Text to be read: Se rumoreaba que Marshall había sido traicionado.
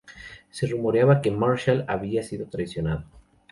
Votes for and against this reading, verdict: 0, 2, rejected